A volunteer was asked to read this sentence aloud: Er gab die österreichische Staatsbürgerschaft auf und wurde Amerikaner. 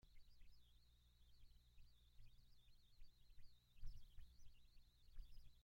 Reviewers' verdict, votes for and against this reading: rejected, 0, 2